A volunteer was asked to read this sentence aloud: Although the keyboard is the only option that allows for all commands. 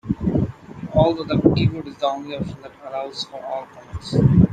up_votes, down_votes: 0, 2